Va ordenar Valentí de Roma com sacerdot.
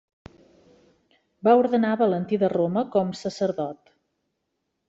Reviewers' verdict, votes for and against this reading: accepted, 3, 0